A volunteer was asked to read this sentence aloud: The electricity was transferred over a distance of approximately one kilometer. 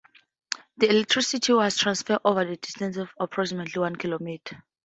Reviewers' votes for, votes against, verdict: 4, 0, accepted